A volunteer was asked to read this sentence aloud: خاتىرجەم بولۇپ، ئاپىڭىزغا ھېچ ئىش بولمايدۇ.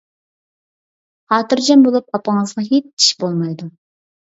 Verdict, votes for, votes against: accepted, 2, 0